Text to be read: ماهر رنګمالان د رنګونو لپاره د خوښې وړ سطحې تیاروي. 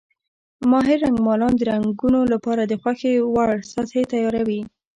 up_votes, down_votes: 2, 0